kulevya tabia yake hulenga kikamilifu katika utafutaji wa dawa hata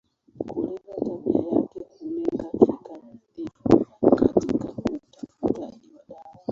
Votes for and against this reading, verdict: 0, 2, rejected